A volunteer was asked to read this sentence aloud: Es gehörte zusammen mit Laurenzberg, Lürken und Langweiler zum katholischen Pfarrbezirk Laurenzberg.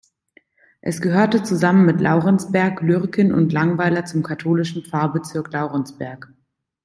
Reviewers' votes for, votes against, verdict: 2, 0, accepted